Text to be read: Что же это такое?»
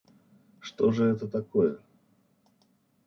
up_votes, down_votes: 2, 0